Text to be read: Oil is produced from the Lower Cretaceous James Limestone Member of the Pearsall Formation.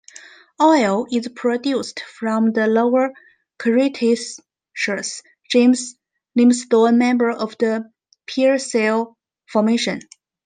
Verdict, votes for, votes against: rejected, 1, 2